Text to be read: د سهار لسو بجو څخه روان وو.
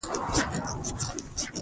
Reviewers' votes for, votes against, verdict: 0, 2, rejected